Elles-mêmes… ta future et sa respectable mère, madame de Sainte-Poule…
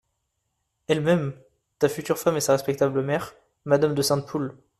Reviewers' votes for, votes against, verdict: 0, 2, rejected